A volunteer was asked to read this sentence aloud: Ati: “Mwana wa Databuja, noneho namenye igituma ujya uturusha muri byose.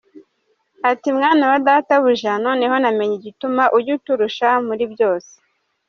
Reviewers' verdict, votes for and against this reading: accepted, 2, 1